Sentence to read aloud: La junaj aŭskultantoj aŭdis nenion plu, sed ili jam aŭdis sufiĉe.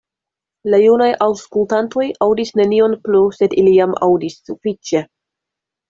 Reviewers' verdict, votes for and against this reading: accepted, 2, 0